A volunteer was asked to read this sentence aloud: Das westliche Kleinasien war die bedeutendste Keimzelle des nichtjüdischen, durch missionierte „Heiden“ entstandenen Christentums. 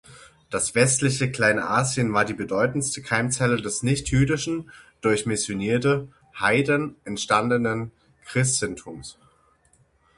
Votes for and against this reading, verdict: 6, 0, accepted